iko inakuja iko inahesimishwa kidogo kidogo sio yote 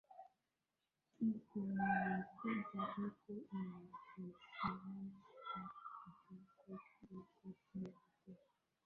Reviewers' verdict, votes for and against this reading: rejected, 0, 2